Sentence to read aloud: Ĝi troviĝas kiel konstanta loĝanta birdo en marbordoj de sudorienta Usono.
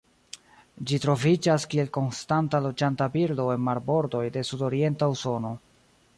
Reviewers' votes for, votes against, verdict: 1, 2, rejected